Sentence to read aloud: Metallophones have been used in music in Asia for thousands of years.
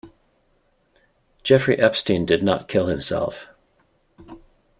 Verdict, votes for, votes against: rejected, 0, 2